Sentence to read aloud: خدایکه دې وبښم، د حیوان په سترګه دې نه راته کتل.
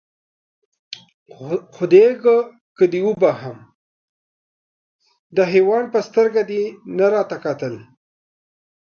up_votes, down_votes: 0, 2